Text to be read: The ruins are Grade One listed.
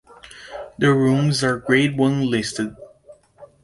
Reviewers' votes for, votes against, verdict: 2, 1, accepted